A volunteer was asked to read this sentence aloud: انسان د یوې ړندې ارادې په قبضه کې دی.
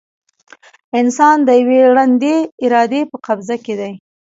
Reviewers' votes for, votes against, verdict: 0, 2, rejected